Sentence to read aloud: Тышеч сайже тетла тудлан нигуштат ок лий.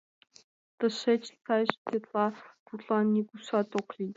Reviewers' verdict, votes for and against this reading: accepted, 2, 1